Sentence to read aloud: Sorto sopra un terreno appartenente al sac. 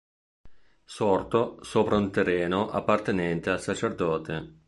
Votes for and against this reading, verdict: 1, 2, rejected